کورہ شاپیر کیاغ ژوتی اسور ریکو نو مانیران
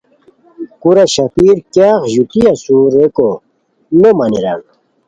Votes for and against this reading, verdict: 2, 0, accepted